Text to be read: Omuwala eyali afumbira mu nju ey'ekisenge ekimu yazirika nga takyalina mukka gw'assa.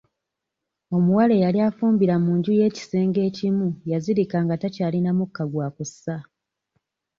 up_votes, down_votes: 1, 2